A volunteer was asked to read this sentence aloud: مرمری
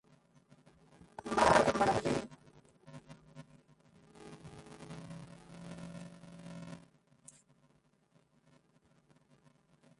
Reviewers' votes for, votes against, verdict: 0, 2, rejected